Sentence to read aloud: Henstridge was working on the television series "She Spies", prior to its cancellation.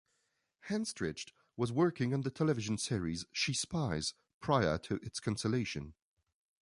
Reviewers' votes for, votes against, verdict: 1, 2, rejected